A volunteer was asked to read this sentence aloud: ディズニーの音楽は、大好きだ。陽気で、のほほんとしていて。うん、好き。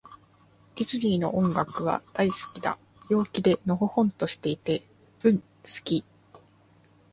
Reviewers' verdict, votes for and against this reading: accepted, 2, 0